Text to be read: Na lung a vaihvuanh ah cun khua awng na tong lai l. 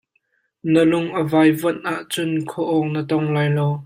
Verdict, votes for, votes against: rejected, 1, 2